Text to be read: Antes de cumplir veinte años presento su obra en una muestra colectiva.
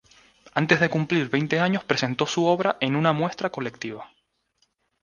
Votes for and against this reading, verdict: 2, 0, accepted